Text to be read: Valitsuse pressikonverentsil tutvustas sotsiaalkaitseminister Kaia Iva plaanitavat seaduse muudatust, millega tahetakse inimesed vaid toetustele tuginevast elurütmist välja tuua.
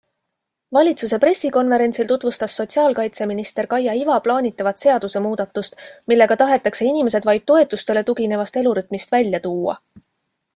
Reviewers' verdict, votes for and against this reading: accepted, 2, 0